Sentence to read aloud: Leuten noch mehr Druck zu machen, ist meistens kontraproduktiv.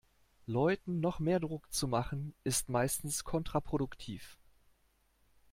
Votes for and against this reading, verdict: 2, 0, accepted